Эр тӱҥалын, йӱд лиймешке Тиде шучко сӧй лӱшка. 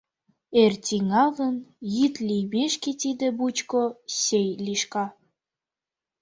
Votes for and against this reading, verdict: 0, 2, rejected